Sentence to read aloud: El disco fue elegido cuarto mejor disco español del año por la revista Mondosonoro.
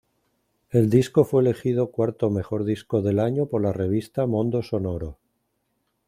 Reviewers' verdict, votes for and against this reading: rejected, 1, 2